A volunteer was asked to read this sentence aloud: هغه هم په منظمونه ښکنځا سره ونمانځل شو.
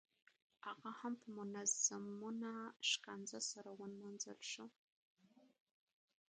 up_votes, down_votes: 0, 2